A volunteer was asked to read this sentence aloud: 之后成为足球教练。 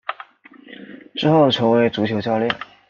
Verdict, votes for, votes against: accepted, 2, 0